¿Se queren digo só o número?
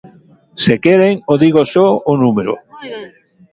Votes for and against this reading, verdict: 1, 2, rejected